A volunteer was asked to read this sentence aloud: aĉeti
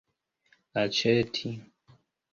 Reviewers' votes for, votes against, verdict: 2, 0, accepted